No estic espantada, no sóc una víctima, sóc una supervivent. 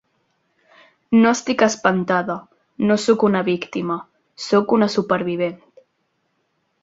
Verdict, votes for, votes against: accepted, 2, 0